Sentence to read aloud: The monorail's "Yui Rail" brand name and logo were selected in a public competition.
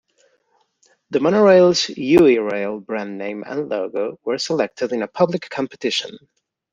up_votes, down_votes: 2, 0